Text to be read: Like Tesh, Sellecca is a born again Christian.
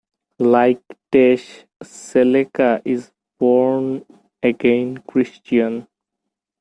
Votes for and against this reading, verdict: 2, 0, accepted